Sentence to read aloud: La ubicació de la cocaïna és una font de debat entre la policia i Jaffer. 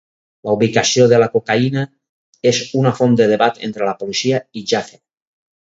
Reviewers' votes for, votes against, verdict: 6, 0, accepted